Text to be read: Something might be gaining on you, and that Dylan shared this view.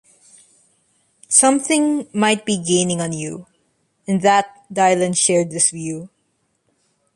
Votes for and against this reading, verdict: 2, 1, accepted